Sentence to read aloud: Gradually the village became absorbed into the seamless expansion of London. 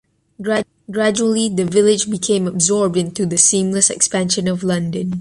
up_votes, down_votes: 0, 2